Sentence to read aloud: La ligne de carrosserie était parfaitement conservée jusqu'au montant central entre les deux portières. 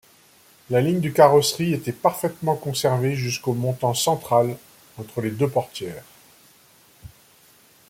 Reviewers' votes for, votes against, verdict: 1, 2, rejected